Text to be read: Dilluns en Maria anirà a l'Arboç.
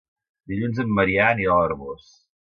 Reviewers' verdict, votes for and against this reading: rejected, 0, 2